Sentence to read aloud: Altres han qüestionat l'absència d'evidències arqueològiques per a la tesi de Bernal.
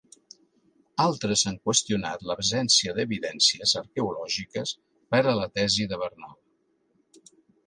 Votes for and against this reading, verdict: 2, 0, accepted